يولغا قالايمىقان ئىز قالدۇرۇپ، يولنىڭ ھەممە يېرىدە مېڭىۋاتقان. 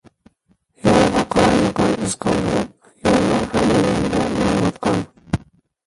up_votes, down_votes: 0, 2